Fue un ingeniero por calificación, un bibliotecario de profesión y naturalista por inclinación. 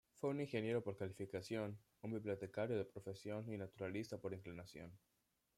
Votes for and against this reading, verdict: 2, 0, accepted